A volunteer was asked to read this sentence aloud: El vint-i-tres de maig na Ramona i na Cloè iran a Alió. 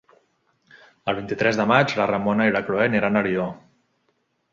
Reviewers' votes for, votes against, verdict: 0, 2, rejected